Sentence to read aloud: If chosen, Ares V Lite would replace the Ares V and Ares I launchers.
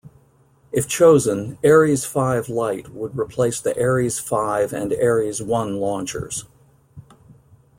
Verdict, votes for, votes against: rejected, 0, 2